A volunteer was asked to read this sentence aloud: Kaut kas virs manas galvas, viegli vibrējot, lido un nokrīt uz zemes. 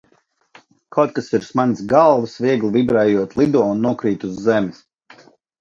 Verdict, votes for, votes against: accepted, 2, 0